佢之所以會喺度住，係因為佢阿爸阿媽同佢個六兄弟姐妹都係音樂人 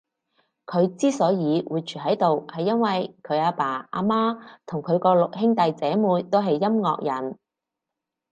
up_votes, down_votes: 2, 4